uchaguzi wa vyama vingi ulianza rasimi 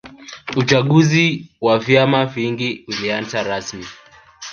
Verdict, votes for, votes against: rejected, 0, 2